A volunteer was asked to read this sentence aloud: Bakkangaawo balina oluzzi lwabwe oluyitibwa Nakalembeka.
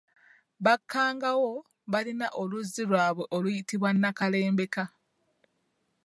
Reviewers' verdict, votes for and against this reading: rejected, 1, 2